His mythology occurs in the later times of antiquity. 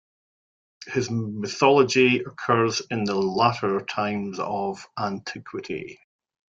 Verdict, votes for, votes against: rejected, 1, 2